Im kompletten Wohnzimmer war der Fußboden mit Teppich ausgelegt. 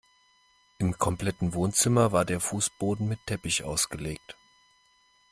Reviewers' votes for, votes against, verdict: 2, 1, accepted